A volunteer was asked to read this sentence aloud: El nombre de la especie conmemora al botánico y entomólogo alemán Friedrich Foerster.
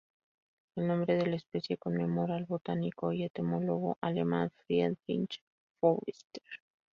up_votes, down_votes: 4, 0